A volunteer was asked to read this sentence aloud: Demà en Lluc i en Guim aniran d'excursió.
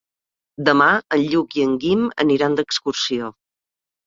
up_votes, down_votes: 3, 0